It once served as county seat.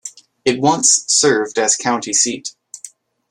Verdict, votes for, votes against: accepted, 2, 0